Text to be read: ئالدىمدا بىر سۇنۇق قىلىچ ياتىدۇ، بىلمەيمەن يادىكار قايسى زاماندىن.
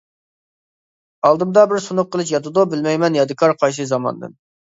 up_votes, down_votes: 2, 0